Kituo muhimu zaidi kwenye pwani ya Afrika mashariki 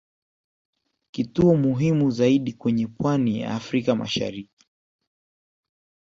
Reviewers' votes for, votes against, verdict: 1, 2, rejected